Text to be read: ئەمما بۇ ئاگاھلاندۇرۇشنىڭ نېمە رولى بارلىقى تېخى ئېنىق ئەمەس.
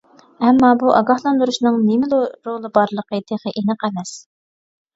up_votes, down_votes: 0, 2